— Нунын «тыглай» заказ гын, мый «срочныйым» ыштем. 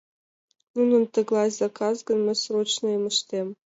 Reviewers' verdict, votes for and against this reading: accepted, 2, 0